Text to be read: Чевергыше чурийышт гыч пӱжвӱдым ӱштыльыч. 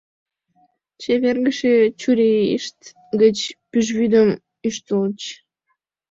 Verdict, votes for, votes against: accepted, 2, 0